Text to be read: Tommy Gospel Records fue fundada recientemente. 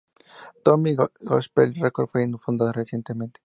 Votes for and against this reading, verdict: 2, 0, accepted